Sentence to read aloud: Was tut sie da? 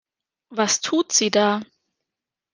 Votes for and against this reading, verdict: 2, 0, accepted